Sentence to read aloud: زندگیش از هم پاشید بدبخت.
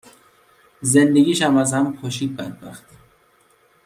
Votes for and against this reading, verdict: 1, 2, rejected